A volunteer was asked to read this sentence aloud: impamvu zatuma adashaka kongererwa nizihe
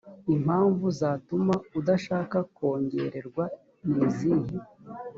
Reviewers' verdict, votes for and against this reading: accepted, 2, 0